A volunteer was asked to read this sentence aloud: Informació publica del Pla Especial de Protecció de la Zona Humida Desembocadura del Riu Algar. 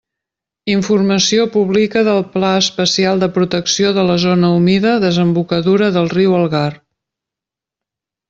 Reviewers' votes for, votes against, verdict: 0, 2, rejected